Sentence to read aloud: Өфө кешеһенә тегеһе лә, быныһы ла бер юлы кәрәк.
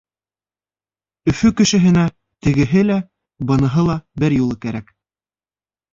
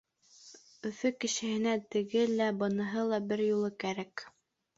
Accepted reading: first